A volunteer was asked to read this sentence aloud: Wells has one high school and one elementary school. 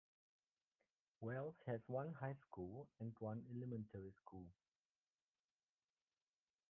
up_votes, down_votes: 1, 2